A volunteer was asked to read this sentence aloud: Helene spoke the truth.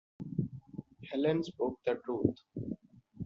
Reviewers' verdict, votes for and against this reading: accepted, 2, 0